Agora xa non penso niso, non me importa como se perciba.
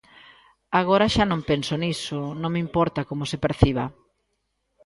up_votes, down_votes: 2, 0